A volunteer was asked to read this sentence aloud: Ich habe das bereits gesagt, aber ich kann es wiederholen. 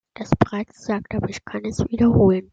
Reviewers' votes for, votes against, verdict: 0, 2, rejected